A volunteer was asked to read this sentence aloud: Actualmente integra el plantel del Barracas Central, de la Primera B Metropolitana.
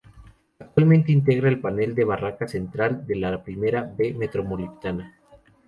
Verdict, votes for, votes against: rejected, 0, 2